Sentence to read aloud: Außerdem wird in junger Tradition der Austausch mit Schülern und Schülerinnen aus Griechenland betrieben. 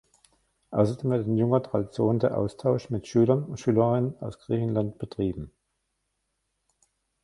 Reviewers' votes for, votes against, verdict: 1, 2, rejected